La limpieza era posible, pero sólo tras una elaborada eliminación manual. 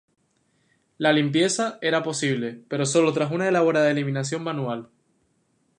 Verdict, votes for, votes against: accepted, 8, 0